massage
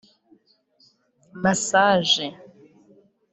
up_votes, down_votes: 1, 2